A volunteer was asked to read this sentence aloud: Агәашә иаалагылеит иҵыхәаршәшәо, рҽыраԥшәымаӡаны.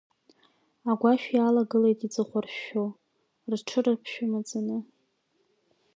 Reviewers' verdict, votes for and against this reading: accepted, 2, 0